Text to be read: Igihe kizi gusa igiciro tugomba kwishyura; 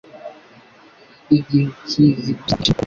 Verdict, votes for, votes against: rejected, 0, 2